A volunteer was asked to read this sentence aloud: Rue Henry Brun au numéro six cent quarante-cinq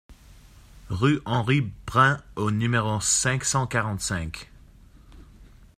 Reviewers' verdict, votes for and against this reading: rejected, 0, 2